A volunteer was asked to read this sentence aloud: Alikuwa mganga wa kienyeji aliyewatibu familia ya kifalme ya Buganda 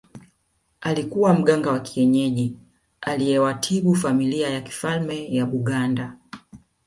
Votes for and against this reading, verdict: 1, 2, rejected